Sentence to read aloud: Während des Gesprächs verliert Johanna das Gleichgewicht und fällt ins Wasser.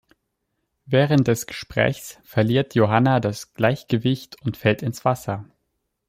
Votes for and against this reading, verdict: 2, 0, accepted